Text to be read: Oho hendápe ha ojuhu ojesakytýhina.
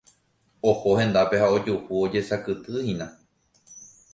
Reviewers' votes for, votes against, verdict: 2, 0, accepted